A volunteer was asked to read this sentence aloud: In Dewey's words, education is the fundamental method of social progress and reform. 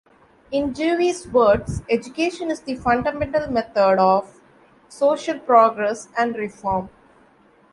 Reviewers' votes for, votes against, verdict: 2, 0, accepted